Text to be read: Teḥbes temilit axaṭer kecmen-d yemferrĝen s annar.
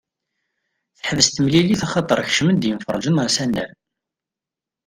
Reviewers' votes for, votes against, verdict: 1, 2, rejected